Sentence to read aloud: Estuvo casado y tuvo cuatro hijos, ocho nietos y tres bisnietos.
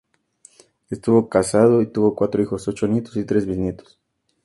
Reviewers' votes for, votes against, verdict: 2, 0, accepted